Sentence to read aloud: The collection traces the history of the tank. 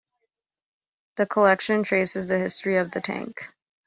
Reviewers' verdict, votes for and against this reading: accepted, 3, 0